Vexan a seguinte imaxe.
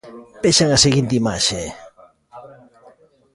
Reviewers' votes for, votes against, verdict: 2, 0, accepted